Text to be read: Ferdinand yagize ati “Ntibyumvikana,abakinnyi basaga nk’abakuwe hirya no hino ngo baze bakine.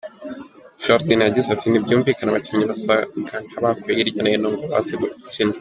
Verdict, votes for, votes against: rejected, 0, 2